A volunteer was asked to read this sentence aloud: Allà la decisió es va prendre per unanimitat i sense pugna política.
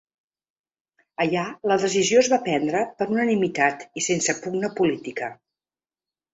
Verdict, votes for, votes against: accepted, 2, 0